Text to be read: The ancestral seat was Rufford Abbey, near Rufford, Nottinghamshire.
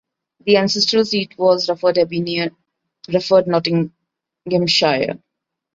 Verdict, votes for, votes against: rejected, 0, 2